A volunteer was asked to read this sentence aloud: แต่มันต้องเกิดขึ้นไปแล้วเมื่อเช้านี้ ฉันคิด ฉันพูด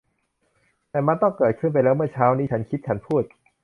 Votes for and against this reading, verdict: 2, 0, accepted